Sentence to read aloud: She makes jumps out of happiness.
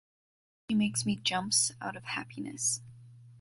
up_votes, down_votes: 0, 2